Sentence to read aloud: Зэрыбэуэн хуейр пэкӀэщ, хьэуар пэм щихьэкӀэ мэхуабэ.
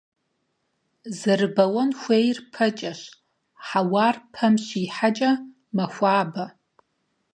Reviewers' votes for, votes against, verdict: 4, 0, accepted